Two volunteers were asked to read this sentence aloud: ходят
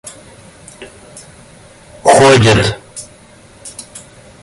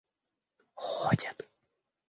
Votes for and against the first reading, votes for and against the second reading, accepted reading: 2, 1, 1, 2, first